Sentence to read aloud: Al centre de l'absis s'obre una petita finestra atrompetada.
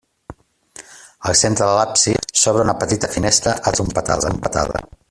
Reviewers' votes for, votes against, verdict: 0, 2, rejected